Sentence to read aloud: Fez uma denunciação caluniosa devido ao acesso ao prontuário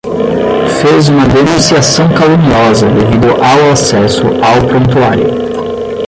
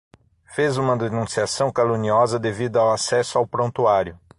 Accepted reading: second